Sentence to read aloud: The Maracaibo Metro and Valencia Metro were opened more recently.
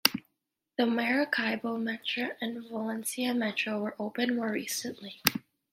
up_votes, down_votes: 2, 0